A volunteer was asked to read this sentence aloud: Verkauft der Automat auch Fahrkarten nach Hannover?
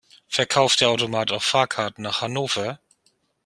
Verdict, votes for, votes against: rejected, 0, 2